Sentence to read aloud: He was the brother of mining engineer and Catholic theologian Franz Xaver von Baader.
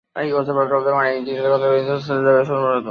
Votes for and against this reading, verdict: 0, 2, rejected